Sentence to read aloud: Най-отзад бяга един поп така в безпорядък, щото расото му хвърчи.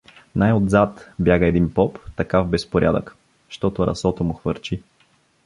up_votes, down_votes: 1, 2